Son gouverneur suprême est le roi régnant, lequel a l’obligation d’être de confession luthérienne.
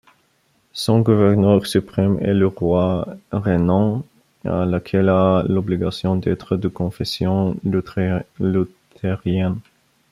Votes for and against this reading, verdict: 0, 2, rejected